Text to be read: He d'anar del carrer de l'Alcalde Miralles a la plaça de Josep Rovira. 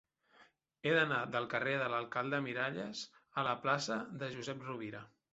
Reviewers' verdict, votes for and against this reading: accepted, 3, 0